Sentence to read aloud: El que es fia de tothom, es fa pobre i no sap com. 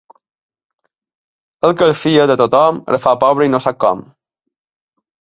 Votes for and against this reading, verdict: 2, 0, accepted